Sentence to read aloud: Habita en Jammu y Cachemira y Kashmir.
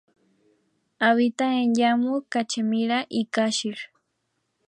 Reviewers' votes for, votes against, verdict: 0, 2, rejected